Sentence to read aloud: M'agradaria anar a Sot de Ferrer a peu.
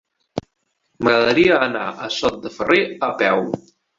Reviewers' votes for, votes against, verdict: 3, 0, accepted